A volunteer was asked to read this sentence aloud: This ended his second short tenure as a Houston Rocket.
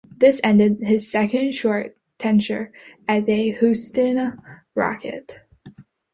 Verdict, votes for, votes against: rejected, 0, 4